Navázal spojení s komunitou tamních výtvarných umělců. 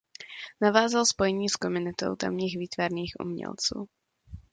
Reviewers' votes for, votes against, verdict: 2, 0, accepted